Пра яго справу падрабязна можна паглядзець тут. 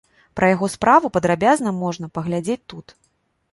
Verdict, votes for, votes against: accepted, 2, 0